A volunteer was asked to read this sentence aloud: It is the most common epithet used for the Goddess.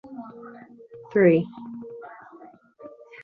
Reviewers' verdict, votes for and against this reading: rejected, 1, 2